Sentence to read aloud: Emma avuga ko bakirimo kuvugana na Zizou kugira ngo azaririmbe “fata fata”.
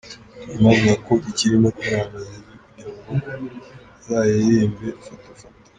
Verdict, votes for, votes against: rejected, 0, 2